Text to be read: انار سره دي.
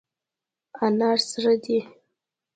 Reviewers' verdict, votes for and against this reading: accepted, 3, 1